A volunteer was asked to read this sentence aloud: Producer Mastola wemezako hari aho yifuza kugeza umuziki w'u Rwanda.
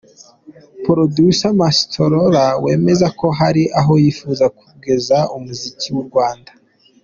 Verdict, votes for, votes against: accepted, 2, 1